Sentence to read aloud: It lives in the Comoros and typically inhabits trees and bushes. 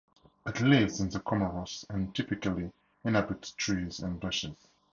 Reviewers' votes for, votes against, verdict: 0, 2, rejected